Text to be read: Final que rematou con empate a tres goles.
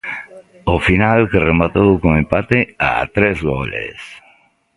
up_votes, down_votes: 0, 2